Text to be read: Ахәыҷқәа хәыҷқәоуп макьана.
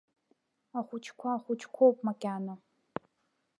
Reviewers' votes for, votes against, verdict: 1, 2, rejected